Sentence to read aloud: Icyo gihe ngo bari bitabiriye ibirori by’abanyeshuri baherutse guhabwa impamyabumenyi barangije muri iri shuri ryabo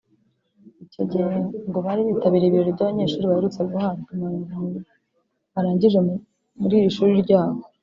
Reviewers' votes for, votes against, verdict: 1, 2, rejected